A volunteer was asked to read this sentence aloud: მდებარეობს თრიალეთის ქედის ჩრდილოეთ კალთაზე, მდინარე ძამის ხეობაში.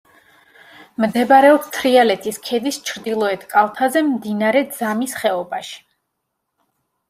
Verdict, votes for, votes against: accepted, 2, 0